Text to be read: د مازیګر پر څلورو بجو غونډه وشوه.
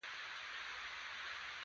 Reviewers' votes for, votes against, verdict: 2, 1, accepted